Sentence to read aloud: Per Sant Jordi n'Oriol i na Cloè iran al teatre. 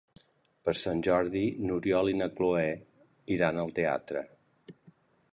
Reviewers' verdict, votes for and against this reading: accepted, 2, 0